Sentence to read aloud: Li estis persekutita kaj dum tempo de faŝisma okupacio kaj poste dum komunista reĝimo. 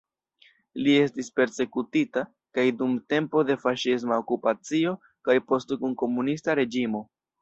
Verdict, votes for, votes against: accepted, 2, 0